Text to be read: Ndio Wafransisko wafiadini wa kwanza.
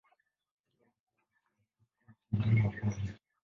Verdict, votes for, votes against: rejected, 1, 2